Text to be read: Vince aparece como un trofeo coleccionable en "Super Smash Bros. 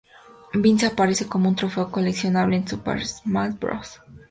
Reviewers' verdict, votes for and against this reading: accepted, 2, 0